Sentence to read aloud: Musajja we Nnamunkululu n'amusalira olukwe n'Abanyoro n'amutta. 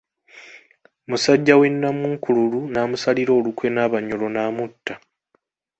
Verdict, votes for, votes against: accepted, 3, 0